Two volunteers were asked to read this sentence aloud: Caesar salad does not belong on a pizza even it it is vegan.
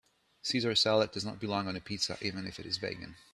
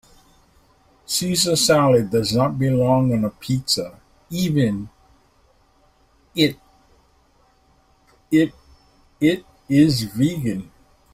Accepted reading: first